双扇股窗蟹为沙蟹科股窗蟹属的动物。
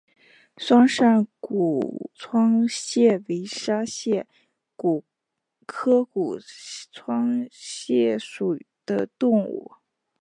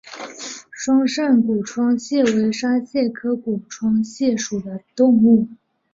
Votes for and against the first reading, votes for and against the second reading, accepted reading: 1, 2, 2, 0, second